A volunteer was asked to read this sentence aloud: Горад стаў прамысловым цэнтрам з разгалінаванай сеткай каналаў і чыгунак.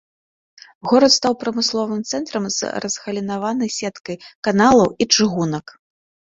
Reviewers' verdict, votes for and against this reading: accepted, 2, 0